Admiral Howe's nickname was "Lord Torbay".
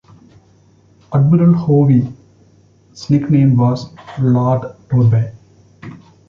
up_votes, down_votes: 0, 2